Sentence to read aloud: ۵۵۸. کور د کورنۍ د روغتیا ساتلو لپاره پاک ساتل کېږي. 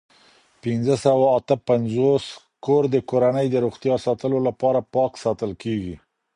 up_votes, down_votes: 0, 2